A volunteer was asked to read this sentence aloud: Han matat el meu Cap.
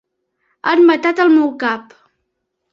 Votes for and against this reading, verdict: 3, 0, accepted